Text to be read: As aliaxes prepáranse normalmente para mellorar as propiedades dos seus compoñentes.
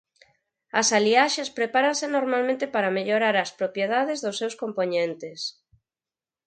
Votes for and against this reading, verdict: 4, 0, accepted